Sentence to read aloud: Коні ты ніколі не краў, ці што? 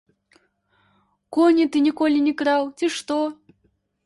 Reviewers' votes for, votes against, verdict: 0, 2, rejected